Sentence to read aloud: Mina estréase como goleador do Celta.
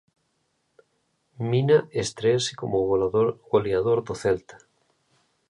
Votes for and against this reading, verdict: 0, 2, rejected